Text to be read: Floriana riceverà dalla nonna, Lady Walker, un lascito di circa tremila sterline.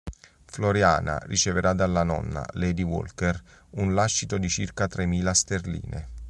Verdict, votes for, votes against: accepted, 2, 0